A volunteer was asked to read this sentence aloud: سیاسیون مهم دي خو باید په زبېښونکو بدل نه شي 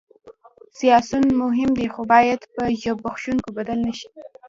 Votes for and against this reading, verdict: 2, 1, accepted